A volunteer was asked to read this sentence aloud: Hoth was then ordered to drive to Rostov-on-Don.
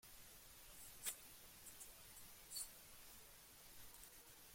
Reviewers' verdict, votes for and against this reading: rejected, 0, 2